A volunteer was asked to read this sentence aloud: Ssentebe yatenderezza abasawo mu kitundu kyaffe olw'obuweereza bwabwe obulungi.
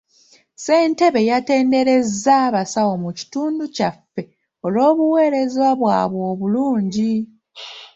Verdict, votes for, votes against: accepted, 2, 0